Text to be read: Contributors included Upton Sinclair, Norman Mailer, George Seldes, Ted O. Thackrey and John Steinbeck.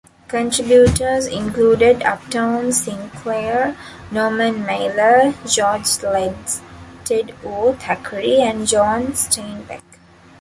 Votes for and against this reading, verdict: 0, 2, rejected